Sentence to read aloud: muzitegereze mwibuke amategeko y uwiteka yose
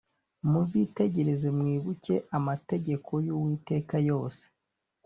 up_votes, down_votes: 2, 0